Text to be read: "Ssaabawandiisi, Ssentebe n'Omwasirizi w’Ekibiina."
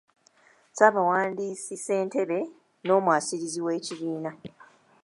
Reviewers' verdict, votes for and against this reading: accepted, 2, 1